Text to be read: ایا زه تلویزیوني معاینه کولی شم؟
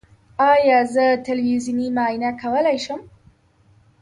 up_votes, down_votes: 1, 2